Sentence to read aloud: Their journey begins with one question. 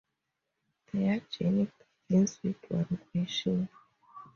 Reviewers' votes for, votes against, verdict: 0, 2, rejected